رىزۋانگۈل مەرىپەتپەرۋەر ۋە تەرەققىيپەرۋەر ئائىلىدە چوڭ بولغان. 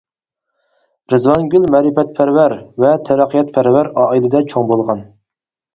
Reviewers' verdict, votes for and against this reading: rejected, 0, 4